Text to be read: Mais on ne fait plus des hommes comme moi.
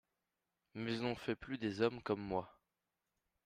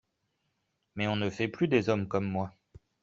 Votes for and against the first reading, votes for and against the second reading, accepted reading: 1, 2, 2, 0, second